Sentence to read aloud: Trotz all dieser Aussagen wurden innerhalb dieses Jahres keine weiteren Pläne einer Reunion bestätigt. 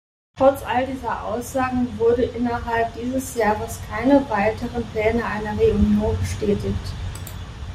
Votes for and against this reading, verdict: 0, 2, rejected